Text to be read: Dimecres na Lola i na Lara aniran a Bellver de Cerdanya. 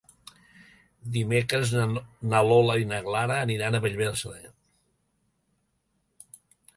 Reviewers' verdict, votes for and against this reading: rejected, 0, 2